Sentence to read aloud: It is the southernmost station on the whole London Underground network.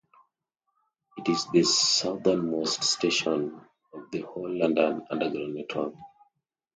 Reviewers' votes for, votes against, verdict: 1, 2, rejected